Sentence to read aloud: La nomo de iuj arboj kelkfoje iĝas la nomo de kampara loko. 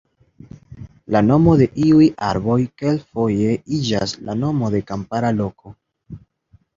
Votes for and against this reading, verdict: 2, 0, accepted